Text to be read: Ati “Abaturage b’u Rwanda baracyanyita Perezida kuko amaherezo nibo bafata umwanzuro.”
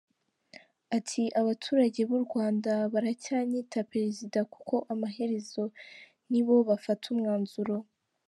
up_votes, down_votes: 2, 0